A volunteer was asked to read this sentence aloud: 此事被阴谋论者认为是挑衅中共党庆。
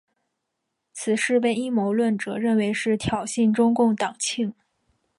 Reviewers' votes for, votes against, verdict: 4, 0, accepted